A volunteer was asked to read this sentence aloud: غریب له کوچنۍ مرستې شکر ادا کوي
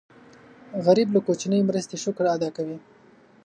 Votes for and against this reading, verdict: 2, 0, accepted